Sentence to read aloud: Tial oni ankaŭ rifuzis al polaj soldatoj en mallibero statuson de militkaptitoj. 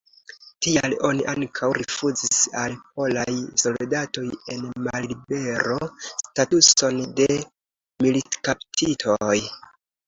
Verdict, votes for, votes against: accepted, 2, 0